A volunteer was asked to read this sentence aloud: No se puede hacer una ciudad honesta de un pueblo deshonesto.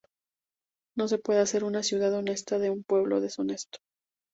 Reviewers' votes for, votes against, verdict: 2, 0, accepted